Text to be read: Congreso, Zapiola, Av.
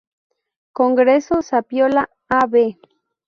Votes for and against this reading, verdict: 2, 0, accepted